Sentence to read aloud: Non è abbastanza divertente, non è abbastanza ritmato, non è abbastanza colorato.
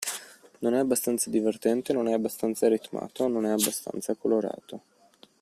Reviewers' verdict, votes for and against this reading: accepted, 2, 0